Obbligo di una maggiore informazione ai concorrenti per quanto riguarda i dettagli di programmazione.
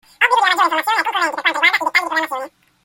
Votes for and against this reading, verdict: 0, 2, rejected